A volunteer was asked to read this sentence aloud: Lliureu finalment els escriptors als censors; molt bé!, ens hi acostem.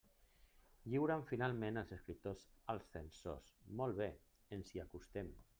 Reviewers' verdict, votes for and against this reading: rejected, 0, 2